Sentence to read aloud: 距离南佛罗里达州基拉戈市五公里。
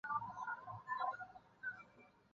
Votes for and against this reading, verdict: 3, 4, rejected